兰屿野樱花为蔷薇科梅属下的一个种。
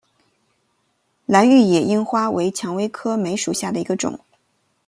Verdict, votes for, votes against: accepted, 2, 0